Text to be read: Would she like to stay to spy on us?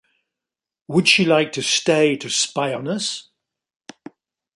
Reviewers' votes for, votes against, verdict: 3, 0, accepted